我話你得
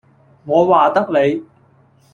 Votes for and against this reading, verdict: 0, 2, rejected